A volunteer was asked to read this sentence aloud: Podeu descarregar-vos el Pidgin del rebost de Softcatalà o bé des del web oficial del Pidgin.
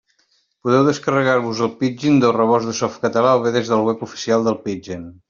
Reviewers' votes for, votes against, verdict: 2, 0, accepted